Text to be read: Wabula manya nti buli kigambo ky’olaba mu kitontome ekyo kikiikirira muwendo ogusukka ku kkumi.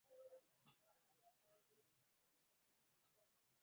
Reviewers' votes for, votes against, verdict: 0, 2, rejected